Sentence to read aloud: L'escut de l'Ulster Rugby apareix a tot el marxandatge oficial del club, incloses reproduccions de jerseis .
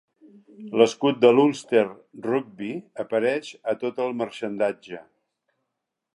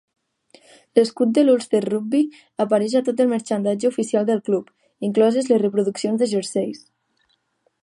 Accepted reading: second